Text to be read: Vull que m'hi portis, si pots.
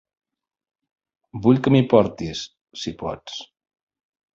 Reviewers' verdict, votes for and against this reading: accepted, 3, 0